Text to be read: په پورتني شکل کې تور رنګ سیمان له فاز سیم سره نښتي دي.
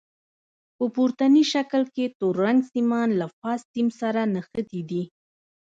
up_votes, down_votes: 1, 2